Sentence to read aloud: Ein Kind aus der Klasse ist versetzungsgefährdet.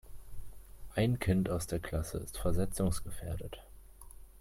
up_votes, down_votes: 2, 0